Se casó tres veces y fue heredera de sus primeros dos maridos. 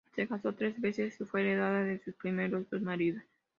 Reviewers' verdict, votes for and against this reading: rejected, 0, 2